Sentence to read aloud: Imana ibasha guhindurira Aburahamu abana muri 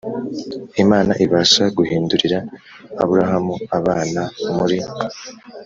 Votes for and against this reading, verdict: 2, 0, accepted